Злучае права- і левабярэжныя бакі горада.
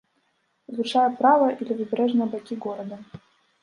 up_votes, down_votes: 0, 2